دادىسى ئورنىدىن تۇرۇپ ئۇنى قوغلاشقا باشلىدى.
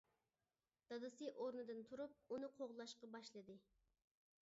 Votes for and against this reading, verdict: 2, 0, accepted